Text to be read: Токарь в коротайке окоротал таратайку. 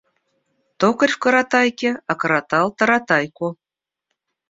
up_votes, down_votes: 2, 0